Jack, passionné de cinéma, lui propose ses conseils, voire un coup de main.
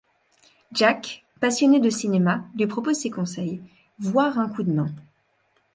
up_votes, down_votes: 2, 0